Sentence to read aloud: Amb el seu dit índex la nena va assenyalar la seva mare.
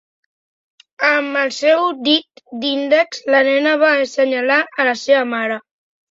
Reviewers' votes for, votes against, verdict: 3, 1, accepted